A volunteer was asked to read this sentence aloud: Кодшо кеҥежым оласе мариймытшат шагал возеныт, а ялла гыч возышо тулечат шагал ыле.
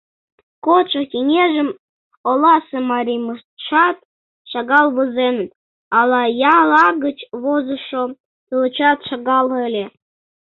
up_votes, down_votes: 0, 2